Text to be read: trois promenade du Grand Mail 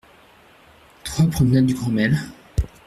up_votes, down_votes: 2, 0